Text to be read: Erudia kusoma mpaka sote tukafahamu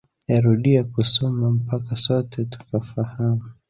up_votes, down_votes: 2, 0